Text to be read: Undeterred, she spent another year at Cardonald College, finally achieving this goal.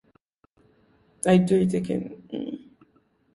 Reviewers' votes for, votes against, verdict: 0, 2, rejected